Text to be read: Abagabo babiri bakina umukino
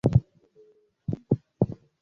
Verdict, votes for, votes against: rejected, 1, 2